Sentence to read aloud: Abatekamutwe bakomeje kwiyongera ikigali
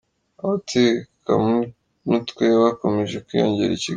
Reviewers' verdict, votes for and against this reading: rejected, 1, 3